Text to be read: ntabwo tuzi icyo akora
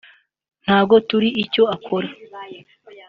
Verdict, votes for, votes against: accepted, 3, 2